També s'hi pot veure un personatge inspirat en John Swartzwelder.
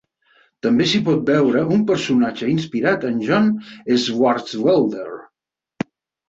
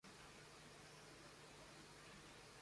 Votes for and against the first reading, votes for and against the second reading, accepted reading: 4, 0, 0, 2, first